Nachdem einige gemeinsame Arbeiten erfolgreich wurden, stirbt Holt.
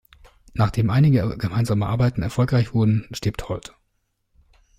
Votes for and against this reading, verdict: 1, 2, rejected